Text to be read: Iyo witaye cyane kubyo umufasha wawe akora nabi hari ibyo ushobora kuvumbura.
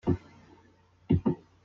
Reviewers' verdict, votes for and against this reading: rejected, 0, 2